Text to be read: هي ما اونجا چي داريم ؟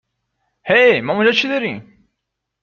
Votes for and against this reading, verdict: 2, 0, accepted